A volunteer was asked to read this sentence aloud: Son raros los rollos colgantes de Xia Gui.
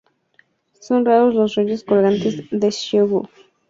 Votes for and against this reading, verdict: 0, 2, rejected